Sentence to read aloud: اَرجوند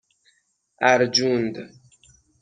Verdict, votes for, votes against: accepted, 6, 0